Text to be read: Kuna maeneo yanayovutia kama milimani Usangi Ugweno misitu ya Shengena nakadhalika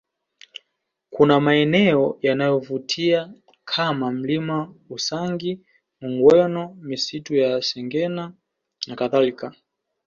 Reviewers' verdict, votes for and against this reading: accepted, 2, 0